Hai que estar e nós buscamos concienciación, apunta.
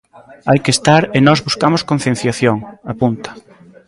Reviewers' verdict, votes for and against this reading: accepted, 3, 2